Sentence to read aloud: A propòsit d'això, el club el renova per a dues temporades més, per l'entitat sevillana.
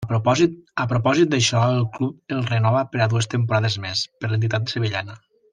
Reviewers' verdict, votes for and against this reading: rejected, 0, 2